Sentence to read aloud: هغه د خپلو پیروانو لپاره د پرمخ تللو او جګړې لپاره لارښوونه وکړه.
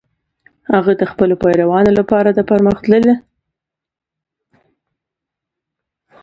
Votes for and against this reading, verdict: 0, 2, rejected